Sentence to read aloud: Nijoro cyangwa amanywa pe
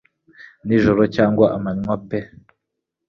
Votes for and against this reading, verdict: 3, 0, accepted